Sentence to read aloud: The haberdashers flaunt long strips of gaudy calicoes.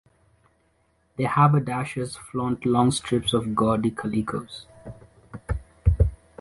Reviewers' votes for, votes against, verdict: 2, 0, accepted